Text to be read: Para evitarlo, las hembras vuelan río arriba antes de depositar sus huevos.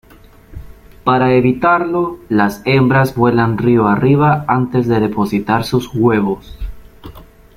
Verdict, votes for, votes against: accepted, 2, 0